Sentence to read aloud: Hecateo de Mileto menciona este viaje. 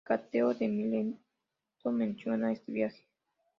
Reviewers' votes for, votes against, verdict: 1, 5, rejected